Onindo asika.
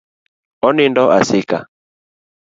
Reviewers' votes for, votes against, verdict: 2, 0, accepted